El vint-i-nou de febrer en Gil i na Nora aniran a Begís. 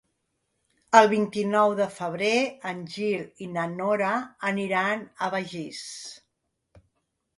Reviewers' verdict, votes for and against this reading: accepted, 2, 0